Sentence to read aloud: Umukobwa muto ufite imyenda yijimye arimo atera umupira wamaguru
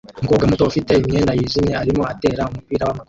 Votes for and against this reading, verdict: 0, 2, rejected